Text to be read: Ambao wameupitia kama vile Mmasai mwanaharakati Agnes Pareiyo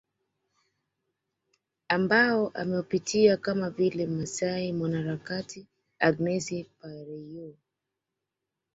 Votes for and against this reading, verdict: 2, 0, accepted